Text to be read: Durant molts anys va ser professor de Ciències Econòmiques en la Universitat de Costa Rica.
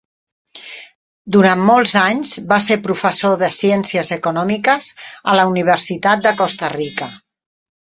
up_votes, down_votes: 4, 0